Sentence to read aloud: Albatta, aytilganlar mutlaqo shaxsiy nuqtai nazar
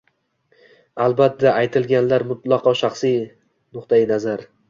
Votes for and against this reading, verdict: 2, 0, accepted